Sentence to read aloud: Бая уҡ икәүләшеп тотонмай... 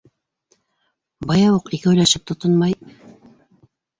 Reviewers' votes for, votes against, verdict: 2, 0, accepted